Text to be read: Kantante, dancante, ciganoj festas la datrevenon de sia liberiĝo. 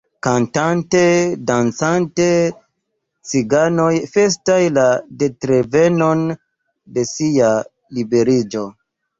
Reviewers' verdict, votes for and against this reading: rejected, 1, 2